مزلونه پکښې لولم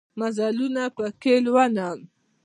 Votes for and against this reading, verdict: 2, 1, accepted